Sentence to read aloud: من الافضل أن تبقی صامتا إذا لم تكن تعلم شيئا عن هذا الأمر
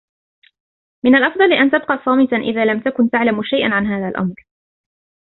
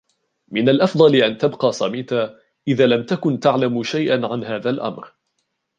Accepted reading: first